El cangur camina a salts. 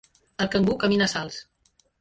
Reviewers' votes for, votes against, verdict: 1, 2, rejected